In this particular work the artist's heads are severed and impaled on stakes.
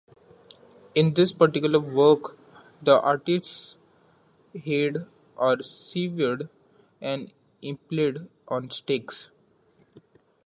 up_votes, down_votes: 1, 2